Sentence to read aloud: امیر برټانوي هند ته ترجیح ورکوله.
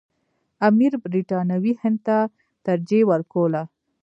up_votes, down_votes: 0, 2